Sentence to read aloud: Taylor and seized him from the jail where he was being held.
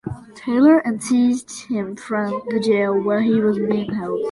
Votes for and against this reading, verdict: 2, 0, accepted